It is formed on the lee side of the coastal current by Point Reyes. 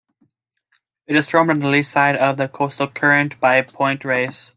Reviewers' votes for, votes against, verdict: 2, 1, accepted